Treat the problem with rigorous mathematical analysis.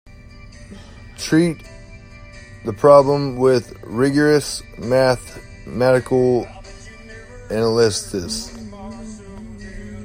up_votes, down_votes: 0, 2